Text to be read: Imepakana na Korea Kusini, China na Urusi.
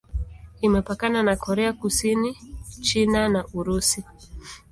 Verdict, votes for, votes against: accepted, 2, 0